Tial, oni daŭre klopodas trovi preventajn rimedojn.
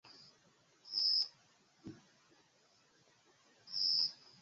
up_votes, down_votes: 0, 2